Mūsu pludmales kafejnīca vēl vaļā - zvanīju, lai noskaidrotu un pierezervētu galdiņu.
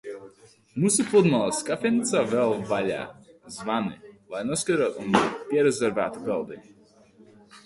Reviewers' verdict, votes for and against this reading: rejected, 0, 2